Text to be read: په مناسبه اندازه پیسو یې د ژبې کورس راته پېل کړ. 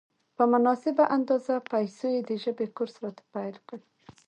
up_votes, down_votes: 2, 1